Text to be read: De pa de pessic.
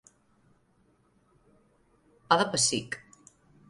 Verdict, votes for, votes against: rejected, 0, 2